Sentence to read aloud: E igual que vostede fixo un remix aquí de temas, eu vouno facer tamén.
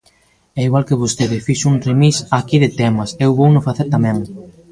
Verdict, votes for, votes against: rejected, 1, 2